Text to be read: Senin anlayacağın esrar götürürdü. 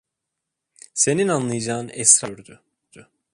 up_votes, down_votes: 0, 2